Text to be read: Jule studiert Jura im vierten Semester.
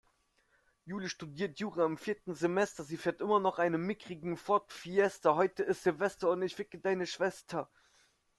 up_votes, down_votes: 0, 2